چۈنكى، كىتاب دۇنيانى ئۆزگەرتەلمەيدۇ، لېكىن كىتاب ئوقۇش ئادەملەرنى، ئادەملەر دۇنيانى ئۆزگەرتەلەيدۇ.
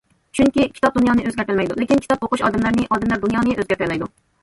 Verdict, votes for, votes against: accepted, 2, 0